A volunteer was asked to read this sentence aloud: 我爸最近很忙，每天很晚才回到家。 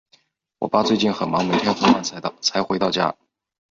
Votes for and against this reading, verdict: 3, 2, accepted